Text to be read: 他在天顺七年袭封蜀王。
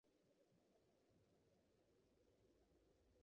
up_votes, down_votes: 1, 2